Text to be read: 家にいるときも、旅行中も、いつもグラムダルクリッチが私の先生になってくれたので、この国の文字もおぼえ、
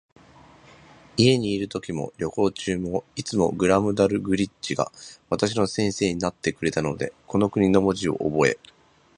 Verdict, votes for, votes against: rejected, 0, 2